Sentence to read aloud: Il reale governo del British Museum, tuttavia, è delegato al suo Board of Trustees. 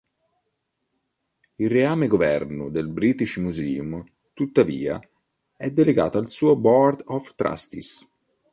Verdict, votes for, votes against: rejected, 1, 2